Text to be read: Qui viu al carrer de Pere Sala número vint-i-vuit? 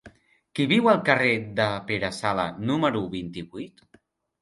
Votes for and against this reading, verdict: 3, 0, accepted